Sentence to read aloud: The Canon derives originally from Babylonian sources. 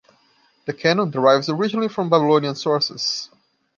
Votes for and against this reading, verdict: 2, 0, accepted